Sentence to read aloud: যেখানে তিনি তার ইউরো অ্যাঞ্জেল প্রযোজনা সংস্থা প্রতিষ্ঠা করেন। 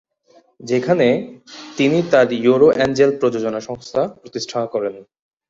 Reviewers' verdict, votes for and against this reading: rejected, 0, 2